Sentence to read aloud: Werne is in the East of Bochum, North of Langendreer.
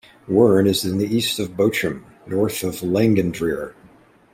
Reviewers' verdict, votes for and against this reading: rejected, 1, 2